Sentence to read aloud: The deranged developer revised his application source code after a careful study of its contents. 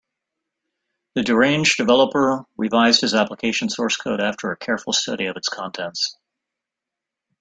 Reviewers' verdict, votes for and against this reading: accepted, 3, 0